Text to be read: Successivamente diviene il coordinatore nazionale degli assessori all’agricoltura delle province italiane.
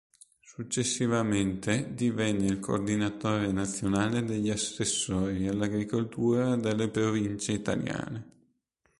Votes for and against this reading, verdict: 1, 2, rejected